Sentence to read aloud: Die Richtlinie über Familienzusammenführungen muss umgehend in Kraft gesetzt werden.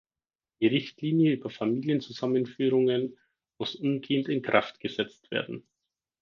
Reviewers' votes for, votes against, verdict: 4, 0, accepted